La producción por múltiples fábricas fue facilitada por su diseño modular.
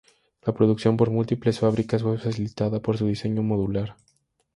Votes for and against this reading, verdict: 6, 2, accepted